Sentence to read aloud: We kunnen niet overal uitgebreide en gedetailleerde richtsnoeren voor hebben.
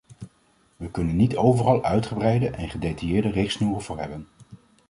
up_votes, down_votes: 2, 0